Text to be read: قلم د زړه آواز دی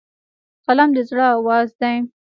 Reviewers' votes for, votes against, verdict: 2, 1, accepted